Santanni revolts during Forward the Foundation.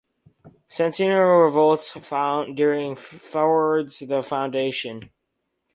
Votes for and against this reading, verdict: 0, 4, rejected